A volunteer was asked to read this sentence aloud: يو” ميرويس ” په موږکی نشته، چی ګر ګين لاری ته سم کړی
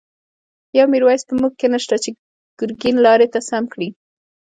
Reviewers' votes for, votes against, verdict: 2, 0, accepted